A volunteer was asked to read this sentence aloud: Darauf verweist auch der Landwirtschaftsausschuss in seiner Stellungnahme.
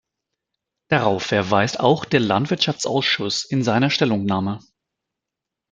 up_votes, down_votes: 2, 0